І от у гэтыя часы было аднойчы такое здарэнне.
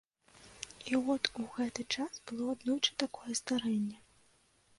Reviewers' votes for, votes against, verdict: 0, 2, rejected